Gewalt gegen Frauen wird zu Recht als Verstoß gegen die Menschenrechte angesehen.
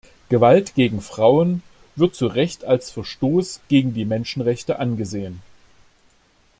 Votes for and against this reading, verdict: 2, 0, accepted